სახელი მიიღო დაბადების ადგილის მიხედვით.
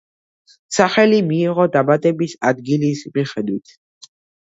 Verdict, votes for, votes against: accepted, 2, 0